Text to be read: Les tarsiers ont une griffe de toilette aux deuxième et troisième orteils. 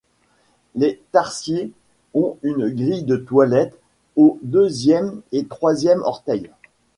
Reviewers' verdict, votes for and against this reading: rejected, 1, 2